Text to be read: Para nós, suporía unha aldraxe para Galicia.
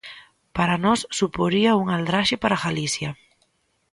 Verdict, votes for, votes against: accepted, 2, 0